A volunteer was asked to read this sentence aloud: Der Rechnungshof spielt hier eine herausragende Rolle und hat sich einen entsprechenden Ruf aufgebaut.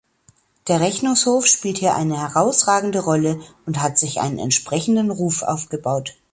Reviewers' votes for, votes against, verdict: 2, 0, accepted